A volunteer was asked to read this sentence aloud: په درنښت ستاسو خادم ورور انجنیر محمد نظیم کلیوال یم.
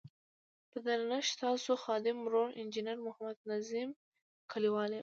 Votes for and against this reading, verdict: 2, 0, accepted